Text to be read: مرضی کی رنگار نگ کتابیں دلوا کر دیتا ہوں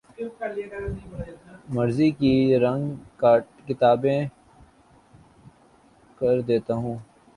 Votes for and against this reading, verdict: 0, 2, rejected